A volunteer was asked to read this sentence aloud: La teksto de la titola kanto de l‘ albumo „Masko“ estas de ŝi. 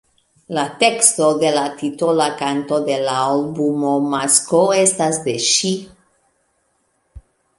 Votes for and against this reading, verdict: 2, 0, accepted